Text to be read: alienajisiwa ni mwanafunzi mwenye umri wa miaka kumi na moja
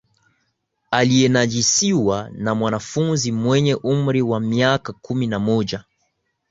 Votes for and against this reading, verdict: 3, 0, accepted